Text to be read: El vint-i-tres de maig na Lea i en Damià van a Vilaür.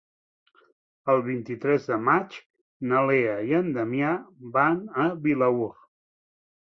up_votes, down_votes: 2, 0